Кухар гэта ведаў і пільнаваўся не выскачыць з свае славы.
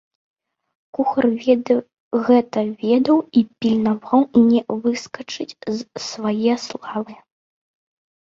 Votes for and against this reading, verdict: 1, 2, rejected